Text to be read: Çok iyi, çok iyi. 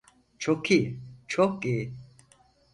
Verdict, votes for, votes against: accepted, 4, 0